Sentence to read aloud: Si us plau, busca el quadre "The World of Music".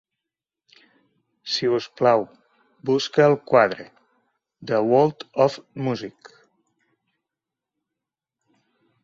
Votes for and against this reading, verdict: 3, 0, accepted